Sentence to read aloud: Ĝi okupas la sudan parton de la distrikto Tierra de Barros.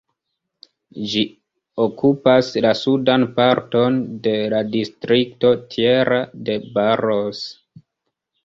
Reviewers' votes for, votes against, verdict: 2, 0, accepted